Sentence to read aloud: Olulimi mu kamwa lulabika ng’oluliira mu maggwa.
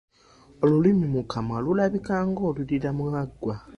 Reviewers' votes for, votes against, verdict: 0, 2, rejected